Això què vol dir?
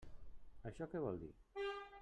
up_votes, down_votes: 3, 1